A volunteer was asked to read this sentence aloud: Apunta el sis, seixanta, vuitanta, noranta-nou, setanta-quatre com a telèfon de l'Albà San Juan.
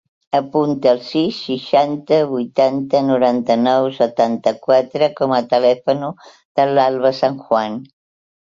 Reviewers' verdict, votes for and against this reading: rejected, 0, 2